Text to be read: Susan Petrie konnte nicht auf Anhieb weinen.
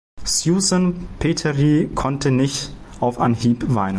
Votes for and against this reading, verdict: 1, 2, rejected